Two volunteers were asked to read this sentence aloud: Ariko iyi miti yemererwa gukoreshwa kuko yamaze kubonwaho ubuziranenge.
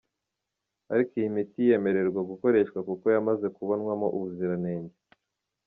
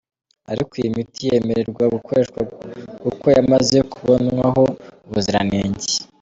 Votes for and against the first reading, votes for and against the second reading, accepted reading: 2, 0, 1, 2, first